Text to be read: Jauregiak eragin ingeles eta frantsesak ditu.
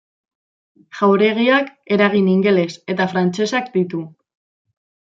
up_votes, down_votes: 2, 0